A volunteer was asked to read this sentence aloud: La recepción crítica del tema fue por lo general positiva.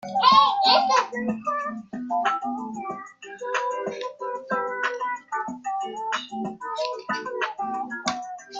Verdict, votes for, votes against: rejected, 0, 2